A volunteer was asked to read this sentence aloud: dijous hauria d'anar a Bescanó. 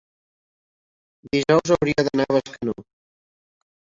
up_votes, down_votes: 0, 2